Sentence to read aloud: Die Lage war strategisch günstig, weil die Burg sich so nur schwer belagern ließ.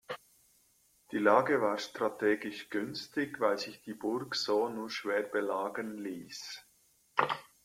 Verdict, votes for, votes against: accepted, 2, 1